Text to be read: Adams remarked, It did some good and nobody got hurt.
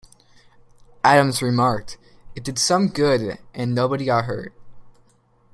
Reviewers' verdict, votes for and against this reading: accepted, 2, 0